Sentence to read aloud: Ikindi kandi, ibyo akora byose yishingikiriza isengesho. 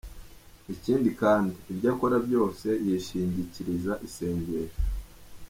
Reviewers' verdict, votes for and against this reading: accepted, 2, 0